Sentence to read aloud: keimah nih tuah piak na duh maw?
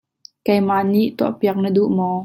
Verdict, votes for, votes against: accepted, 2, 0